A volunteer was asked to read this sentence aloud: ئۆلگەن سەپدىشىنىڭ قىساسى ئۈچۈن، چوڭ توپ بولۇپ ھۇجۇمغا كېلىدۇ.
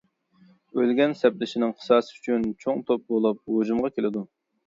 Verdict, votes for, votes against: accepted, 2, 0